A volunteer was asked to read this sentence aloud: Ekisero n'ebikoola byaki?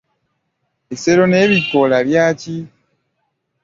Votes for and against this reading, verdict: 2, 0, accepted